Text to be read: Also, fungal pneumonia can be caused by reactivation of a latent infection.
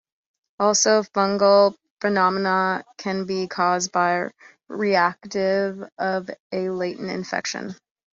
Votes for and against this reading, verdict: 0, 2, rejected